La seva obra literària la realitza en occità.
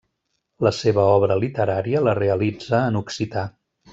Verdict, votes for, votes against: accepted, 3, 0